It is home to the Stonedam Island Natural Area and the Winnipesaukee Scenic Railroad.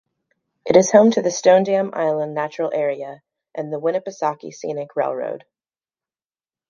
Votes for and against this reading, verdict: 2, 0, accepted